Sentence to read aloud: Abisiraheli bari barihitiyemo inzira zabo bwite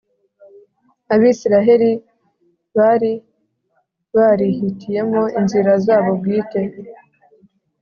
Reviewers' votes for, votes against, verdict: 3, 0, accepted